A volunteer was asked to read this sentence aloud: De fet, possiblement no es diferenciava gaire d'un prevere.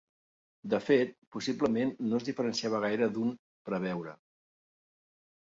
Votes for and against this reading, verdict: 0, 2, rejected